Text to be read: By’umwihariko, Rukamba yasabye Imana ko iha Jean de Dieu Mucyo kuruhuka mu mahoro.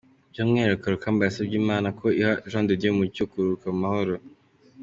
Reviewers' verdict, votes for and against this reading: accepted, 2, 0